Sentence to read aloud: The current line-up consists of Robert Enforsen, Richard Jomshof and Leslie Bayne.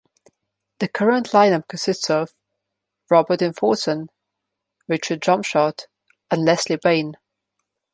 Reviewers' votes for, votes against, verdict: 1, 2, rejected